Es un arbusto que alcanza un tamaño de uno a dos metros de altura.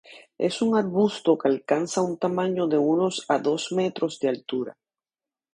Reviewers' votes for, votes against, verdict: 0, 2, rejected